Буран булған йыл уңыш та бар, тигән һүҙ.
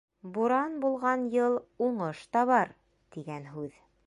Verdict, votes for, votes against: rejected, 0, 2